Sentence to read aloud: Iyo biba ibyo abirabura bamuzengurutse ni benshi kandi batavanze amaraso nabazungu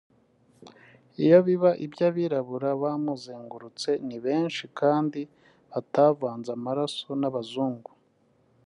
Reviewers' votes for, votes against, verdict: 2, 0, accepted